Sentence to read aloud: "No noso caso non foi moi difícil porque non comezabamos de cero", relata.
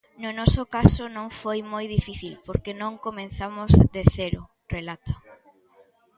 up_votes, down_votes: 0, 2